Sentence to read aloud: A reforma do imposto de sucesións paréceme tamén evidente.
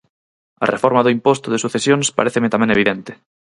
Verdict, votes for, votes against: accepted, 4, 0